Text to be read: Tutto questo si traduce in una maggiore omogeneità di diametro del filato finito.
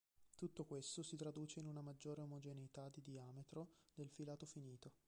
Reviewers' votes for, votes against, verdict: 1, 2, rejected